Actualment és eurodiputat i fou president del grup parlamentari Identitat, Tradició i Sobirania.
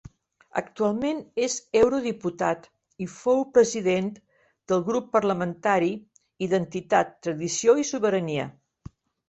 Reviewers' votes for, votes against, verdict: 1, 2, rejected